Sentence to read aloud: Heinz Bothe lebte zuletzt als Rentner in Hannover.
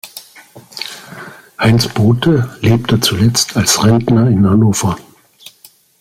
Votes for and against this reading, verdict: 2, 0, accepted